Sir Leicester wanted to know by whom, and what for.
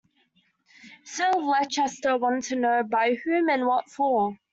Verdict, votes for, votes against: rejected, 0, 2